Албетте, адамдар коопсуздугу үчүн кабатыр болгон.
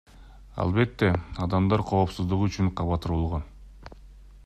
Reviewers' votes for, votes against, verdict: 1, 2, rejected